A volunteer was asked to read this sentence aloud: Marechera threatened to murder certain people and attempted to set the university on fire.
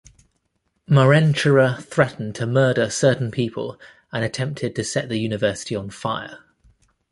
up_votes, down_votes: 1, 2